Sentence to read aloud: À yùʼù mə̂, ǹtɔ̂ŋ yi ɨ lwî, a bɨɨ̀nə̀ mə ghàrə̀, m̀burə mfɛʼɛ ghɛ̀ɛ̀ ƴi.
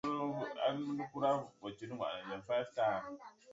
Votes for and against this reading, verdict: 1, 2, rejected